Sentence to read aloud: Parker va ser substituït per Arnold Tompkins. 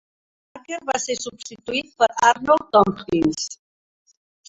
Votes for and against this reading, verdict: 1, 3, rejected